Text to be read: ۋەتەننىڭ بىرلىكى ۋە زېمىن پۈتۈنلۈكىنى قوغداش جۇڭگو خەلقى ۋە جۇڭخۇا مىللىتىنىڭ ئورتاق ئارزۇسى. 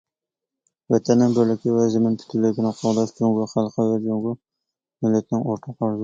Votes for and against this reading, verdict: 1, 2, rejected